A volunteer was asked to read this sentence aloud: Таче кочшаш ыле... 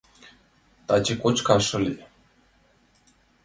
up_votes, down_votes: 1, 2